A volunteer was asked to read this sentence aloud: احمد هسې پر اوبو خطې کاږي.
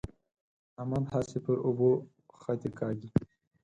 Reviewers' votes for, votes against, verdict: 2, 4, rejected